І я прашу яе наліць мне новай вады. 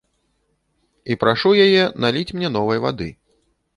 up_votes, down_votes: 1, 3